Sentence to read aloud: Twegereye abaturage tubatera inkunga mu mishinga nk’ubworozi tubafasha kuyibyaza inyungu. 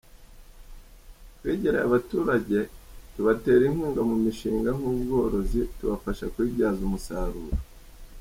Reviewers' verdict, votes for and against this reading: rejected, 0, 2